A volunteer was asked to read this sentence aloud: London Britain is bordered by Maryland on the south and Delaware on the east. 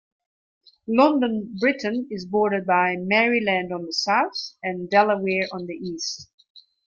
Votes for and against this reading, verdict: 1, 2, rejected